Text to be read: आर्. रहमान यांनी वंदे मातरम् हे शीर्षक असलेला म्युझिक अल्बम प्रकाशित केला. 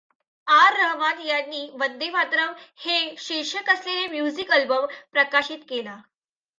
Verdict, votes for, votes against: rejected, 0, 2